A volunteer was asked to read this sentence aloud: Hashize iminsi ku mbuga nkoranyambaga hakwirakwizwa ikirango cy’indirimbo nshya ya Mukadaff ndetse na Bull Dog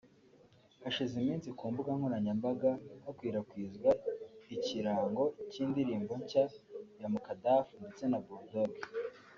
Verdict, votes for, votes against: rejected, 1, 2